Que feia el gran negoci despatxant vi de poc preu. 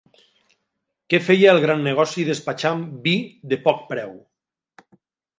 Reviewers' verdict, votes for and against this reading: rejected, 1, 2